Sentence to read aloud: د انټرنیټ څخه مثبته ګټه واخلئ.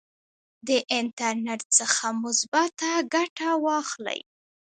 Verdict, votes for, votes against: accepted, 2, 0